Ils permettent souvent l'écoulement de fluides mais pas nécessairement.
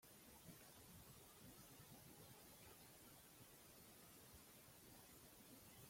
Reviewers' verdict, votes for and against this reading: rejected, 0, 2